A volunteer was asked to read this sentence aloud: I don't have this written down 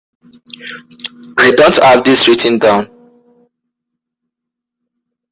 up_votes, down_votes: 2, 1